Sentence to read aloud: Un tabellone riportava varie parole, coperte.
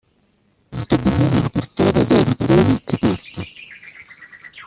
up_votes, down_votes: 0, 2